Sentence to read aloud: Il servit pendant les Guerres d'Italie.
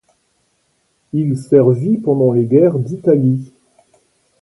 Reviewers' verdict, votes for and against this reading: accepted, 2, 0